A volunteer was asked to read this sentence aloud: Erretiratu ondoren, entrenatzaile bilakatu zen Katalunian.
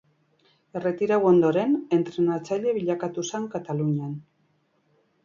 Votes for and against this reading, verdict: 2, 2, rejected